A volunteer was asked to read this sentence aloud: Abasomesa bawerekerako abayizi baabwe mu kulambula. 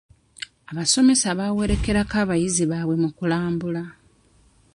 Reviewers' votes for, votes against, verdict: 2, 1, accepted